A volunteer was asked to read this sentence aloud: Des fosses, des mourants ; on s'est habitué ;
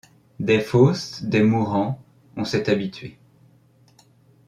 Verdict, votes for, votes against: accepted, 2, 0